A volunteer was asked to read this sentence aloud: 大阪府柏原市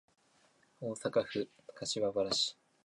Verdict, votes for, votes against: accepted, 3, 1